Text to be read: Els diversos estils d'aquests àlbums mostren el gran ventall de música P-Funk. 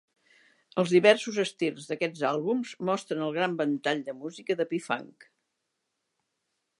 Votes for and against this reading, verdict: 0, 2, rejected